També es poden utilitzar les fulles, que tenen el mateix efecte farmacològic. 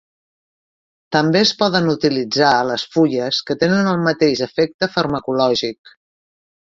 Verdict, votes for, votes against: rejected, 1, 2